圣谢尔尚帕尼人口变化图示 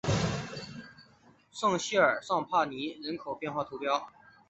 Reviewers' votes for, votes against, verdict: 2, 1, accepted